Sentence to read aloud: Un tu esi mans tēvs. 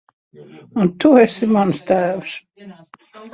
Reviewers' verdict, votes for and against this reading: rejected, 1, 2